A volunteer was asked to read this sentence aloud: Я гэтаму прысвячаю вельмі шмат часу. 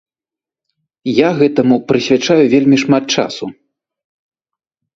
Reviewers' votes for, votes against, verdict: 2, 0, accepted